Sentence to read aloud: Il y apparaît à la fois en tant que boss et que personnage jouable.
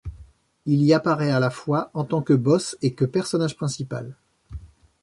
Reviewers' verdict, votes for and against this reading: rejected, 0, 2